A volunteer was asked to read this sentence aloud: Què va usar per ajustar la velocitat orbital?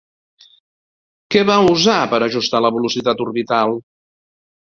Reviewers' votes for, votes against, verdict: 2, 0, accepted